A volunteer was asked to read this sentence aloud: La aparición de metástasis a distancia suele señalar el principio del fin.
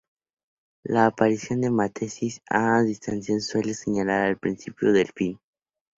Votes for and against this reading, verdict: 2, 2, rejected